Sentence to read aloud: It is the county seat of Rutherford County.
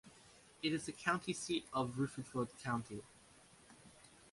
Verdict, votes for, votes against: accepted, 2, 0